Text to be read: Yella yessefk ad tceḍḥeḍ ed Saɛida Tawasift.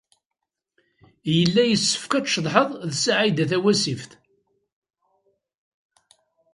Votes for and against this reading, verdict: 1, 2, rejected